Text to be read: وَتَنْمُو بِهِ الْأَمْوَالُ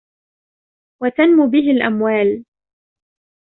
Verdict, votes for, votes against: accepted, 2, 0